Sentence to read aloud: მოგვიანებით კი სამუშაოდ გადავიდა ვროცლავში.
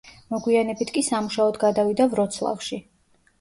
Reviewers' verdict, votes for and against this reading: accepted, 2, 0